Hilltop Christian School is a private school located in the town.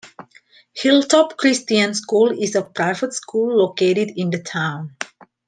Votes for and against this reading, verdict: 2, 0, accepted